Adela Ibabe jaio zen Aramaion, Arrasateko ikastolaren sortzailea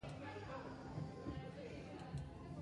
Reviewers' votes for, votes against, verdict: 0, 2, rejected